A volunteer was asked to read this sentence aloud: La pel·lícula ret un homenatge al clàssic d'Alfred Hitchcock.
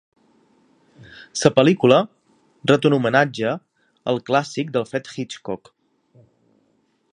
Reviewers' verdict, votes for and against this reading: rejected, 0, 2